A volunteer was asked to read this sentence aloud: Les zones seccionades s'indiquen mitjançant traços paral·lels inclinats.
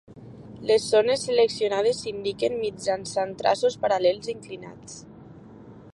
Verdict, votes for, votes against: accepted, 2, 0